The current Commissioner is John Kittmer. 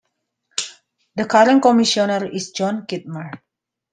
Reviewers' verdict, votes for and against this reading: accepted, 2, 0